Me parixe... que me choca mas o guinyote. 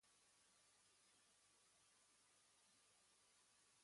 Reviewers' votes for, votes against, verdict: 1, 2, rejected